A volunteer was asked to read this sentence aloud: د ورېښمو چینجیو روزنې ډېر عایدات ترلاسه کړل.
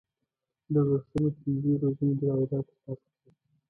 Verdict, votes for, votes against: rejected, 1, 2